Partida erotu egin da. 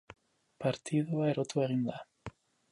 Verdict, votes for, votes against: rejected, 0, 2